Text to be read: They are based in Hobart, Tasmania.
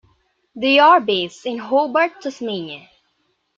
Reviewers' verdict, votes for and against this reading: rejected, 1, 2